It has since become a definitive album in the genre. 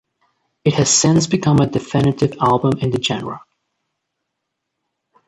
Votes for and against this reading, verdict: 2, 0, accepted